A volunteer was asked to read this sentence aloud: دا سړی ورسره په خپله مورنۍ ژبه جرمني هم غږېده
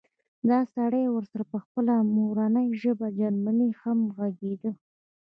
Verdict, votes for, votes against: accepted, 2, 0